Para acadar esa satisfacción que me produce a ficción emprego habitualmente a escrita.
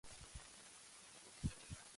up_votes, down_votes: 0, 2